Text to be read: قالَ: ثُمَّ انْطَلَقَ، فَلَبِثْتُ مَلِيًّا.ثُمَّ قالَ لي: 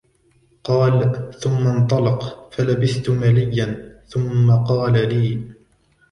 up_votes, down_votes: 1, 2